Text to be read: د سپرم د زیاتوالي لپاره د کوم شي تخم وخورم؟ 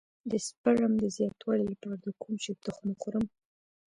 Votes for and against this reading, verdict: 2, 0, accepted